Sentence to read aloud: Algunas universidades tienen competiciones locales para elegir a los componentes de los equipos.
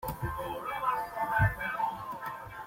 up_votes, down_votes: 0, 2